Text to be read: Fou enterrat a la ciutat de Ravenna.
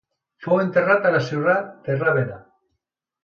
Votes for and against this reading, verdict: 0, 2, rejected